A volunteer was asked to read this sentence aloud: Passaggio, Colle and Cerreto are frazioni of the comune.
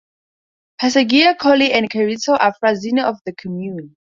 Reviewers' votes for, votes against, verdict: 0, 2, rejected